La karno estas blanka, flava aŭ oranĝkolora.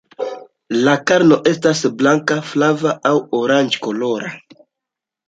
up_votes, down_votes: 2, 0